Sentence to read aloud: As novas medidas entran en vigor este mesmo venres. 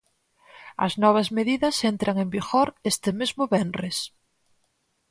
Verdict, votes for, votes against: accepted, 4, 0